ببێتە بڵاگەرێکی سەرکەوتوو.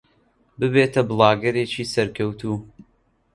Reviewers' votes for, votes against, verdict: 2, 0, accepted